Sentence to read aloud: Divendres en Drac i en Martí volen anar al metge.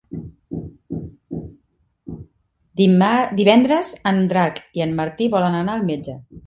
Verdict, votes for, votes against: rejected, 0, 2